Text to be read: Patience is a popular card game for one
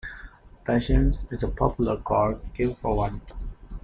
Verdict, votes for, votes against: accepted, 2, 0